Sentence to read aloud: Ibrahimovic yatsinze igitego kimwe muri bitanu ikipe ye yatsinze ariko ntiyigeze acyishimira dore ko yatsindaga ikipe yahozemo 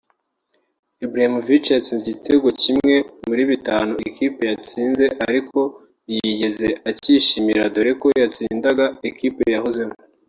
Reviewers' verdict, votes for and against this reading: accepted, 2, 1